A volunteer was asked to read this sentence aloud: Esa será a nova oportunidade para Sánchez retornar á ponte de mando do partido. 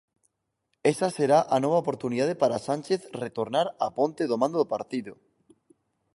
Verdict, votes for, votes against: rejected, 4, 6